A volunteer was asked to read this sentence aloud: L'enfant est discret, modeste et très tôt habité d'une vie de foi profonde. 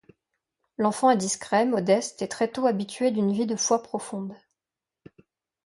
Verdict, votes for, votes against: rejected, 0, 2